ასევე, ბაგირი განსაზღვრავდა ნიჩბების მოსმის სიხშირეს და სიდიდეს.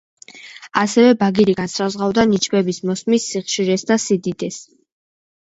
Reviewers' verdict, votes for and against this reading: rejected, 1, 2